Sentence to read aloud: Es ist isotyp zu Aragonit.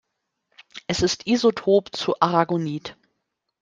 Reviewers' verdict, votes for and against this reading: rejected, 0, 2